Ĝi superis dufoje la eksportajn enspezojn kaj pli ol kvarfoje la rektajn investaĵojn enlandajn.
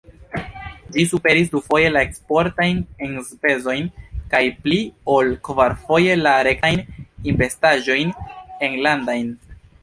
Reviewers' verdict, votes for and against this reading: rejected, 0, 2